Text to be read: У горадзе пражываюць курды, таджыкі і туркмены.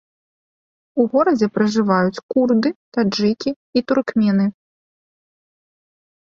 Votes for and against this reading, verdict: 2, 0, accepted